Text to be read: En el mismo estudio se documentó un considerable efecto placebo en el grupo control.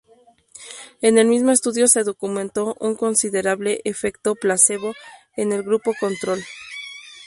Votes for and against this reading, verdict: 2, 0, accepted